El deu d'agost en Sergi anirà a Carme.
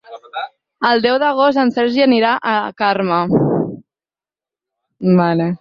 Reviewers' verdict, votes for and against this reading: rejected, 0, 4